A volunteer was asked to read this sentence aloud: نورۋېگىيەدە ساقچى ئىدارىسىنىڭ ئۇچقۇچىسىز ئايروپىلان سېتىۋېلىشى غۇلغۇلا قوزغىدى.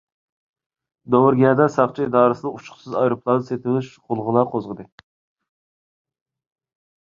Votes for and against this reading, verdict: 0, 2, rejected